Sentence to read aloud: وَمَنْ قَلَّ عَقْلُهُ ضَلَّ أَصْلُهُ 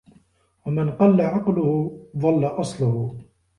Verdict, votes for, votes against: accepted, 2, 0